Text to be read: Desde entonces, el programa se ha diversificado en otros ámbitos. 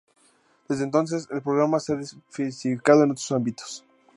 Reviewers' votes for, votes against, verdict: 0, 2, rejected